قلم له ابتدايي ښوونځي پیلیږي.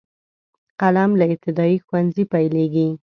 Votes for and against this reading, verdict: 2, 0, accepted